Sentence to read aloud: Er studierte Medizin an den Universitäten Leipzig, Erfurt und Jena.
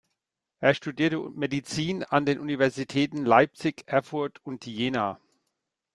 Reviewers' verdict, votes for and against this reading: rejected, 1, 2